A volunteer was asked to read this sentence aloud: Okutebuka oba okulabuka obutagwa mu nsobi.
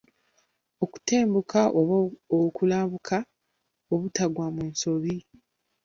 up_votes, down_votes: 1, 2